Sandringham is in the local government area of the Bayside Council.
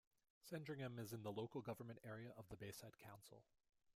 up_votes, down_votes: 2, 1